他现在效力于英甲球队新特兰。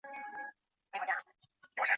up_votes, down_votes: 0, 2